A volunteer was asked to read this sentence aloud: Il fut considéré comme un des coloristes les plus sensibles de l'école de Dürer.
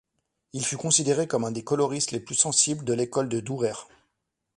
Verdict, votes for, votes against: accepted, 2, 0